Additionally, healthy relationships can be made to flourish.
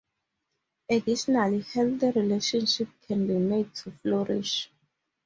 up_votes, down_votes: 2, 0